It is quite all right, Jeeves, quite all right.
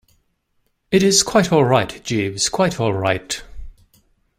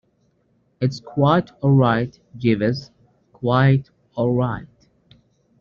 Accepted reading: first